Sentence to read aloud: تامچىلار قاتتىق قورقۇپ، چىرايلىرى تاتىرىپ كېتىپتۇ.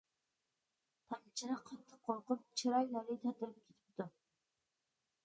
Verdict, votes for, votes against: rejected, 0, 2